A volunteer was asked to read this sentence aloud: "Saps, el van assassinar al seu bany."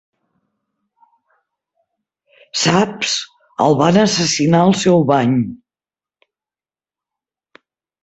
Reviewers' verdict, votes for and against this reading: accepted, 2, 0